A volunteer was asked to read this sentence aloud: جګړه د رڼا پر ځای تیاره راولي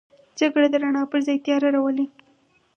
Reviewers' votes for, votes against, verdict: 2, 2, rejected